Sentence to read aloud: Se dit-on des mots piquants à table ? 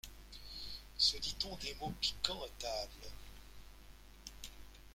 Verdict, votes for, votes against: accepted, 2, 0